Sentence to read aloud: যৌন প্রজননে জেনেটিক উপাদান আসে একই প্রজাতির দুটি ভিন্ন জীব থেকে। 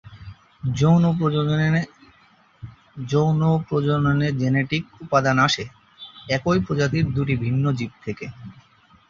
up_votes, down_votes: 0, 3